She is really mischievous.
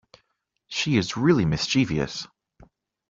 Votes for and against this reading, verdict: 2, 1, accepted